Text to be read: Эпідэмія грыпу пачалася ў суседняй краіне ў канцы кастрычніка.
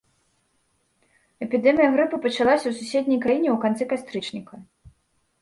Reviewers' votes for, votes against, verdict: 2, 0, accepted